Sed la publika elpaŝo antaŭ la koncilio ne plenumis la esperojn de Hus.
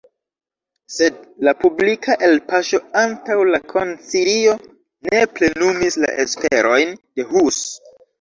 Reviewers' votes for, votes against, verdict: 1, 2, rejected